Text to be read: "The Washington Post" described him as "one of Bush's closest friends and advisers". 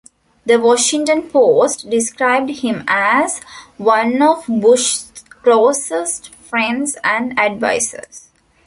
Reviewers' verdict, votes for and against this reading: rejected, 0, 3